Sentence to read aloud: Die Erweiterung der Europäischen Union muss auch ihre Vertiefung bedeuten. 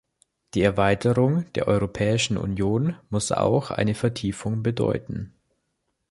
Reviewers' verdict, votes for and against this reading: rejected, 0, 2